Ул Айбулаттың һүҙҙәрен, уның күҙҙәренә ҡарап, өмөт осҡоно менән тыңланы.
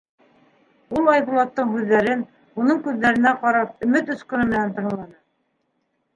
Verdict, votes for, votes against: rejected, 1, 2